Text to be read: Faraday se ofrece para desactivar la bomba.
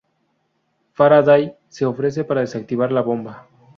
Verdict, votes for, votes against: rejected, 2, 2